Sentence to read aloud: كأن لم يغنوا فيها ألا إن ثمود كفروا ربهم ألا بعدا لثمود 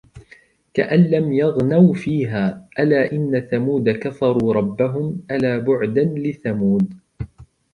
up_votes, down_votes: 2, 0